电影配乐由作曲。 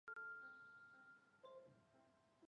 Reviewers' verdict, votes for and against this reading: rejected, 0, 7